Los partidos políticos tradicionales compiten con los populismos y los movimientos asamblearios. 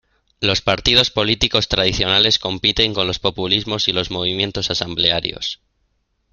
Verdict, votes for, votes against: accepted, 2, 1